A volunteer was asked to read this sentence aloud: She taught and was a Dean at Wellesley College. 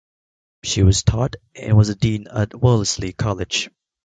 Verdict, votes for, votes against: rejected, 1, 2